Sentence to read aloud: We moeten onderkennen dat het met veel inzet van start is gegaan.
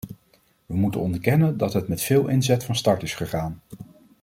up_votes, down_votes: 2, 0